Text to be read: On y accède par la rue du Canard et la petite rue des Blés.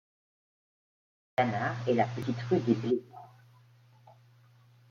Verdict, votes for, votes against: rejected, 1, 2